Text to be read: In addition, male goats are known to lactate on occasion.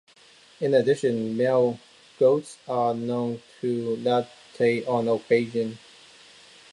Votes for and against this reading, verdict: 2, 0, accepted